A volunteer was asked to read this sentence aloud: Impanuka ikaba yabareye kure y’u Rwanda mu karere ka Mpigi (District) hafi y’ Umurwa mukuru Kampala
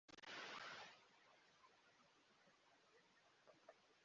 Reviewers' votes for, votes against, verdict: 0, 2, rejected